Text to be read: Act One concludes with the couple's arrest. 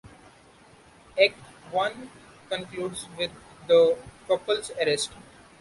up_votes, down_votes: 2, 0